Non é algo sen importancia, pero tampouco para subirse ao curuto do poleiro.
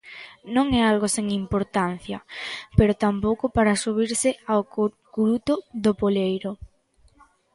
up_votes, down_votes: 0, 3